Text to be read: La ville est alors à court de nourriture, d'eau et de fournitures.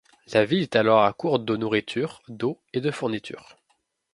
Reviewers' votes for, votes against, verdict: 0, 2, rejected